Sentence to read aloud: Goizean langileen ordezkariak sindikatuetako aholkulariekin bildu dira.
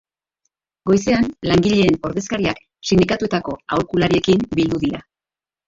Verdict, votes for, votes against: rejected, 2, 2